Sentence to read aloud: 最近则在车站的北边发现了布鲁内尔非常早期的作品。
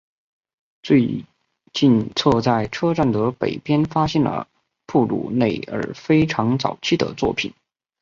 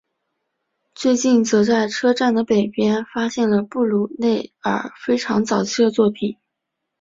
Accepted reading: second